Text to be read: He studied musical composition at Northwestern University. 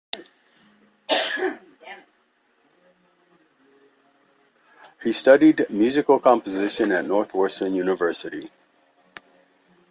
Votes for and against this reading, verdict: 2, 0, accepted